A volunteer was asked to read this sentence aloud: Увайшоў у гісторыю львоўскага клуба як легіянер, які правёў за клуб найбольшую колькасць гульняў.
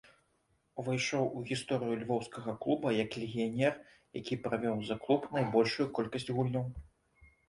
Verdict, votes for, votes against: accepted, 2, 0